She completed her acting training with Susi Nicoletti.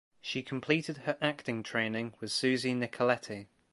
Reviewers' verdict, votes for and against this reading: accepted, 2, 0